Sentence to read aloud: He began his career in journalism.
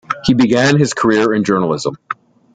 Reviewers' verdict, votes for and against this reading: accepted, 2, 0